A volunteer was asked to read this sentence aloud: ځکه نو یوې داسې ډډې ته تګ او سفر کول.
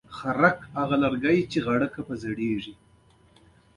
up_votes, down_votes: 2, 1